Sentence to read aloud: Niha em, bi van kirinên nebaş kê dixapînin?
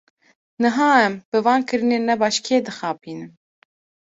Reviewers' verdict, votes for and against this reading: accepted, 2, 0